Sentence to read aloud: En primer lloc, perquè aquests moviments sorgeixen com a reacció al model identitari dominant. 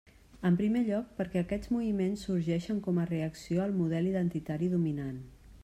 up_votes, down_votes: 3, 0